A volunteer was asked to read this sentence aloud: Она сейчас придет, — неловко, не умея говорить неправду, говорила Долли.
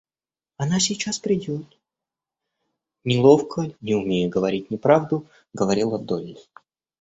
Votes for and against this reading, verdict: 2, 0, accepted